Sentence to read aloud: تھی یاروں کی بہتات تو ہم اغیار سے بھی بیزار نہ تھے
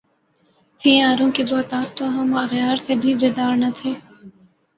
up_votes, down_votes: 0, 2